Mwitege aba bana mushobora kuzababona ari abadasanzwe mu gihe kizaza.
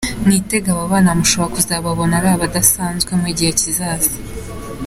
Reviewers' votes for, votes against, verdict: 2, 0, accepted